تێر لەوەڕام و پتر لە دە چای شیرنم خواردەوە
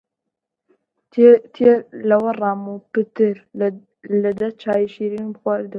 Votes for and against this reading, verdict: 2, 0, accepted